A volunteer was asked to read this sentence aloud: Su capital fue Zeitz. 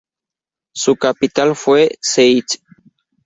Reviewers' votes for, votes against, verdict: 2, 0, accepted